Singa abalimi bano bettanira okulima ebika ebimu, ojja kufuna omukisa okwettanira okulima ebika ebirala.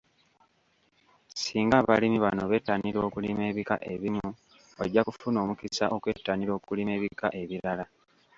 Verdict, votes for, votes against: rejected, 0, 2